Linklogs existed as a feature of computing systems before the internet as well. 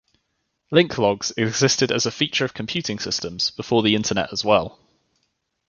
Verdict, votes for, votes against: accepted, 2, 0